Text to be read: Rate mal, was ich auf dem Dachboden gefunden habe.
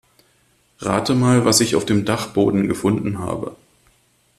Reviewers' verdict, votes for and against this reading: accepted, 2, 0